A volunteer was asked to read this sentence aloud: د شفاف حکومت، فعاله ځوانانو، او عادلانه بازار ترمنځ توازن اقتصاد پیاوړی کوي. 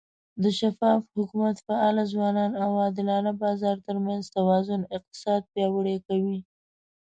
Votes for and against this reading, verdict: 2, 0, accepted